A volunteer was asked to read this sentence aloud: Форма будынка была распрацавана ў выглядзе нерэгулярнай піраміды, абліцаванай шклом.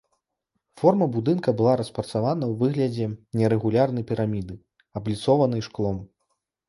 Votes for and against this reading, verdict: 1, 2, rejected